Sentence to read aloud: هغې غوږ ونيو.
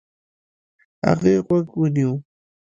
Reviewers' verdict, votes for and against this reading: rejected, 1, 2